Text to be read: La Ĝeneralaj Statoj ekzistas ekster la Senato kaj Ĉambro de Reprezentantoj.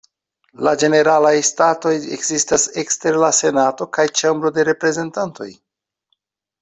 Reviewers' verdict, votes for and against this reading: accepted, 2, 0